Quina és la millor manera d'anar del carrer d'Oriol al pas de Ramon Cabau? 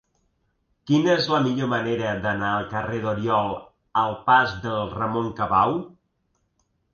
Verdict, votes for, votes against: rejected, 0, 2